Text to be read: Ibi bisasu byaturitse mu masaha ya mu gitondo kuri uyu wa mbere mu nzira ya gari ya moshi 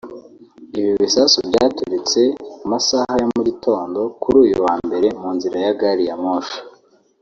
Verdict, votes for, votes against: rejected, 0, 2